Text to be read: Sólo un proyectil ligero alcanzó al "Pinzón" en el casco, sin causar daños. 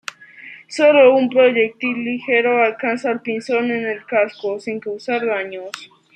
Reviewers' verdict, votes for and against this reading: accepted, 2, 0